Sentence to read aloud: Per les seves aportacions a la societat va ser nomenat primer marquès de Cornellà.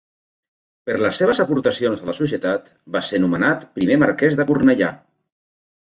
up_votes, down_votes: 2, 1